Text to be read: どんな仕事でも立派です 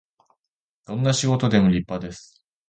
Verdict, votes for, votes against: accepted, 2, 0